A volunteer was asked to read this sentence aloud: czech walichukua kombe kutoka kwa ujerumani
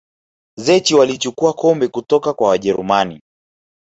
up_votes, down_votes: 0, 3